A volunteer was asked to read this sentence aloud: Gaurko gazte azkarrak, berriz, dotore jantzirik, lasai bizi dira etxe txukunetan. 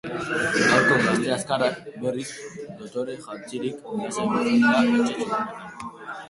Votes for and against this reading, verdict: 2, 2, rejected